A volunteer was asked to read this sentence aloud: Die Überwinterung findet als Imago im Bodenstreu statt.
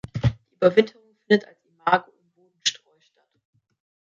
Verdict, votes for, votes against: rejected, 0, 2